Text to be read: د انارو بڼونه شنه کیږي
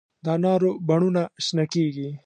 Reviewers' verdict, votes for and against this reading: accepted, 2, 0